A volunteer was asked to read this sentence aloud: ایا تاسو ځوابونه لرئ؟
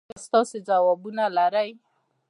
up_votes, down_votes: 0, 2